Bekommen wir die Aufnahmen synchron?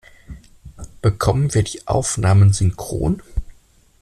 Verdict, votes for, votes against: accepted, 2, 0